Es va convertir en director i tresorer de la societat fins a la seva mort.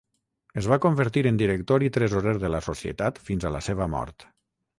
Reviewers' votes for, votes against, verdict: 3, 0, accepted